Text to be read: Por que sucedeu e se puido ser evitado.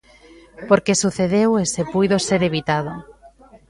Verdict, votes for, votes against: accepted, 2, 0